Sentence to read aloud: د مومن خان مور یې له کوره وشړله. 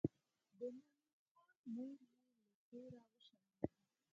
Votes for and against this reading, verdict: 0, 4, rejected